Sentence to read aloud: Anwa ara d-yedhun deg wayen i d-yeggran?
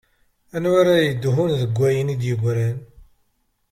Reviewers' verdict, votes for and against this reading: rejected, 1, 2